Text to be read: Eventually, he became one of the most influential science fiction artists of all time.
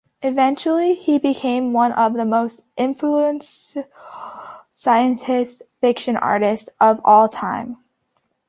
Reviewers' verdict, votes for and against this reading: rejected, 0, 2